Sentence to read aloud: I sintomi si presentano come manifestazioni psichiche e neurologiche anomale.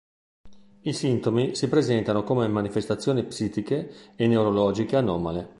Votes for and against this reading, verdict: 1, 2, rejected